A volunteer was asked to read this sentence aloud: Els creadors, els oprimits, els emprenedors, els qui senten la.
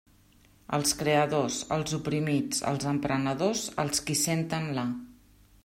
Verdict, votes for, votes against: accepted, 3, 0